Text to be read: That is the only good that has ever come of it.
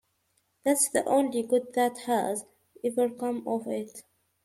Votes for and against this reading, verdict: 0, 2, rejected